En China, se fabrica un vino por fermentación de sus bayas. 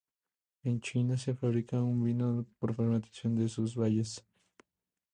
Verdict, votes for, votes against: accepted, 2, 0